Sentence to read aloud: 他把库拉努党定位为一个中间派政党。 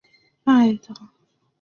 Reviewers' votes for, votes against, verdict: 0, 4, rejected